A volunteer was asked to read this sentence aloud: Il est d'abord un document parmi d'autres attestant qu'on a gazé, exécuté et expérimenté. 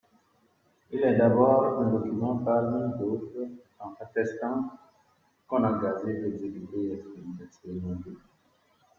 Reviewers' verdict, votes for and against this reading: rejected, 0, 2